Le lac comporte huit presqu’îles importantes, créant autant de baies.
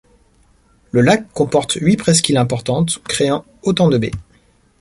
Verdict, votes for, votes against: rejected, 1, 2